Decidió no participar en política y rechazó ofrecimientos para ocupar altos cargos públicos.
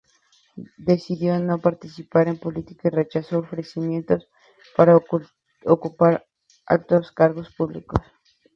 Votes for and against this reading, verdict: 0, 2, rejected